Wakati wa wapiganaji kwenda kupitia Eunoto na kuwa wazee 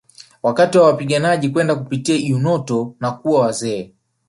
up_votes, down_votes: 2, 1